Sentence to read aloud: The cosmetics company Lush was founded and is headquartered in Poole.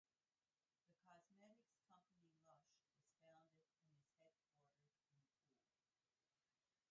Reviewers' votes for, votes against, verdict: 0, 2, rejected